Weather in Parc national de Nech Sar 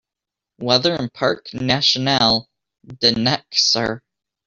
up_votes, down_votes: 2, 1